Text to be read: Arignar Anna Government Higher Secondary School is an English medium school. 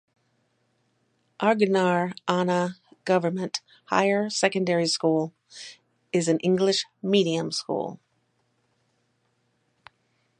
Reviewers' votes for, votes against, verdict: 4, 0, accepted